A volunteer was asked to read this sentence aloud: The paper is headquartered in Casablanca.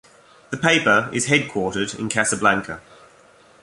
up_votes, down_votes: 2, 0